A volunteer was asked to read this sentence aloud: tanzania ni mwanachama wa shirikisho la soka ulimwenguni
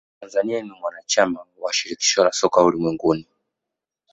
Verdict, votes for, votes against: accepted, 2, 1